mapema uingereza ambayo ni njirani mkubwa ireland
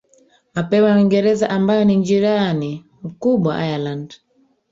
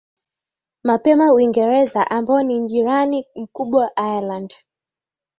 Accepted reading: second